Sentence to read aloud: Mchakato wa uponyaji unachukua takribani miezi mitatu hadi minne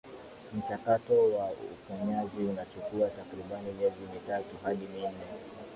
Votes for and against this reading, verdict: 2, 3, rejected